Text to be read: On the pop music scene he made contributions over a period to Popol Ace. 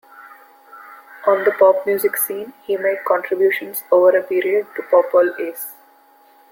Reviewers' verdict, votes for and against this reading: accepted, 2, 0